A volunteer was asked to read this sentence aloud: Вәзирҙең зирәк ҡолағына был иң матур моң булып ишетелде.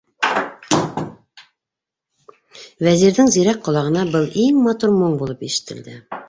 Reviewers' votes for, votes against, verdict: 1, 2, rejected